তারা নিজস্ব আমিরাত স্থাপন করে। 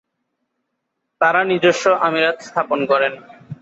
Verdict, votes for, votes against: rejected, 8, 8